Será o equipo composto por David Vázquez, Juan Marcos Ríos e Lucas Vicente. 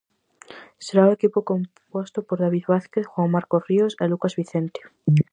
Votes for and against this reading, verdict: 2, 2, rejected